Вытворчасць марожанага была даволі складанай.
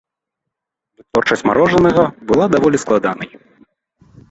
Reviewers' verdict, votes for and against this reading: rejected, 1, 2